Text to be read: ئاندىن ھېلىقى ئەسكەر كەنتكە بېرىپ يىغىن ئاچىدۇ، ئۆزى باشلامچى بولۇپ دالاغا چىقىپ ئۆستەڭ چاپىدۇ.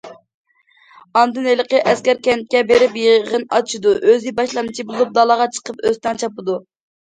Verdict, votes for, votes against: accepted, 2, 0